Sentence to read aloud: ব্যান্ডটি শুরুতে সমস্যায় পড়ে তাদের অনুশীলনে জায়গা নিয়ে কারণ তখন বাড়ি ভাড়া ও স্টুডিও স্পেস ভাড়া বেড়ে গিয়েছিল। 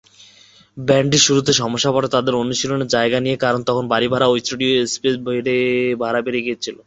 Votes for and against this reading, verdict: 0, 2, rejected